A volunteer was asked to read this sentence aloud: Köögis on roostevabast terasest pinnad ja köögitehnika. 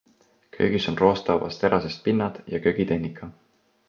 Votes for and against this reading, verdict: 2, 0, accepted